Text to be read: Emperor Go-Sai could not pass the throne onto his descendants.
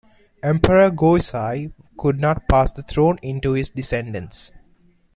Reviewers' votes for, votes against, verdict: 0, 2, rejected